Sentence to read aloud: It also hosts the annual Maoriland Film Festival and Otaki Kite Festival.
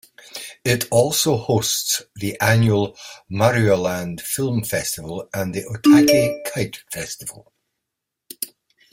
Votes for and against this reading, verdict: 1, 2, rejected